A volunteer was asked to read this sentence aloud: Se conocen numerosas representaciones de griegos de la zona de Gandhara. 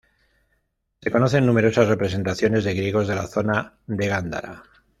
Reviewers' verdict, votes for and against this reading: accepted, 3, 0